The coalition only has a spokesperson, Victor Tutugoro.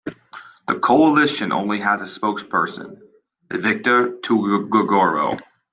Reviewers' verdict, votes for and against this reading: rejected, 1, 2